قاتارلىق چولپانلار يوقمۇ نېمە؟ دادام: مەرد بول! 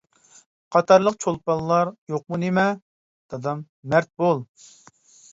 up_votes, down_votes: 2, 0